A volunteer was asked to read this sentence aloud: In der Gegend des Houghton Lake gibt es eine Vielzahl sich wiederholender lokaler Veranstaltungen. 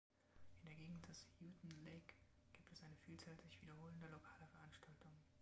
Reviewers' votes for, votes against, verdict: 0, 2, rejected